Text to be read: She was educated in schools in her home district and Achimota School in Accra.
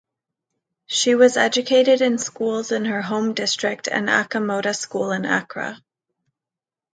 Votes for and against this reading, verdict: 2, 1, accepted